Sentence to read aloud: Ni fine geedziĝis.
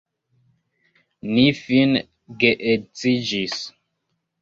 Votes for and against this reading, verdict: 1, 2, rejected